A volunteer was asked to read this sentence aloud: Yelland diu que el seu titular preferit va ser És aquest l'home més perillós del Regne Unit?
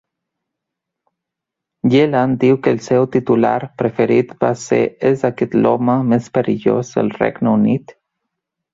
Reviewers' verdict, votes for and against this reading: accepted, 2, 1